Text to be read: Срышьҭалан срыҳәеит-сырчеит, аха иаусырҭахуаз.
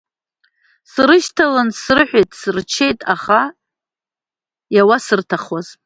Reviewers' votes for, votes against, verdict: 2, 0, accepted